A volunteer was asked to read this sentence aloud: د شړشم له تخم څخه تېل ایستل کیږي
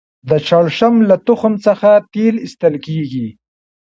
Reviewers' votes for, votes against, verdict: 2, 0, accepted